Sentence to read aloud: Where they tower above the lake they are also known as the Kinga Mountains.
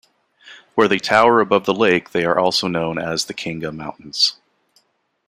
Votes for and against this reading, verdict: 2, 0, accepted